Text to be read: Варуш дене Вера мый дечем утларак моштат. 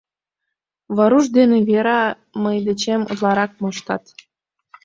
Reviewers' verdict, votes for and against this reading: accepted, 2, 0